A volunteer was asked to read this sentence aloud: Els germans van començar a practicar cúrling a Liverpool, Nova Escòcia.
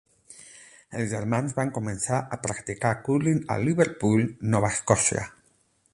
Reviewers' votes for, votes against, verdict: 12, 0, accepted